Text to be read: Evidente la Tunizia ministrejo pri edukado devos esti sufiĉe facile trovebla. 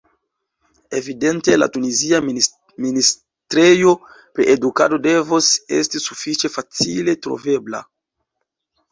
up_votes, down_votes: 0, 2